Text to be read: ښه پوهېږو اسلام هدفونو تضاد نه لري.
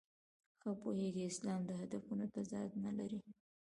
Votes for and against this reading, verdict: 0, 2, rejected